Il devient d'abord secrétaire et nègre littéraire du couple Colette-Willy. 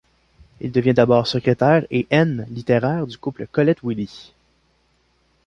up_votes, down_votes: 1, 2